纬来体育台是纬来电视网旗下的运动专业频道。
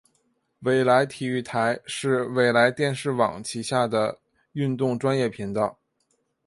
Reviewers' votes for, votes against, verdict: 2, 0, accepted